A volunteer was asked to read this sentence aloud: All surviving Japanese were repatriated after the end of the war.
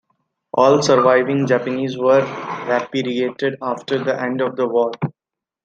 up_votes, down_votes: 2, 0